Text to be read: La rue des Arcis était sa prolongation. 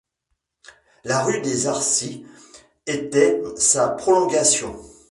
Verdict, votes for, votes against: rejected, 1, 2